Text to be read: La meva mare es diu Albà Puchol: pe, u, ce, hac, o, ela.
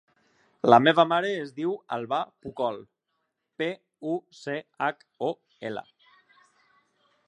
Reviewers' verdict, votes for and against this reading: rejected, 0, 2